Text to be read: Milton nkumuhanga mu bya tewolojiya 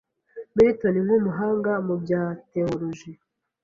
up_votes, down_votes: 1, 2